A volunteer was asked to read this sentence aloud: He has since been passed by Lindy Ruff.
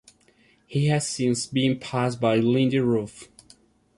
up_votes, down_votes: 2, 1